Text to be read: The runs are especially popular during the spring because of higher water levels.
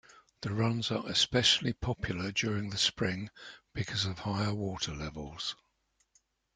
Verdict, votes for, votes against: accepted, 2, 0